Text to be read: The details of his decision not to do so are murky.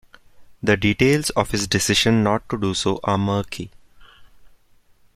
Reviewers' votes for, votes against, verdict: 2, 0, accepted